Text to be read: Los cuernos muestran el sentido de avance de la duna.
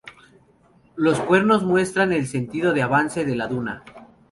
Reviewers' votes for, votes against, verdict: 2, 0, accepted